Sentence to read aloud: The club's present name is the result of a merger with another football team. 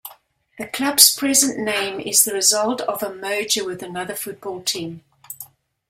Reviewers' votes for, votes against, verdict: 2, 0, accepted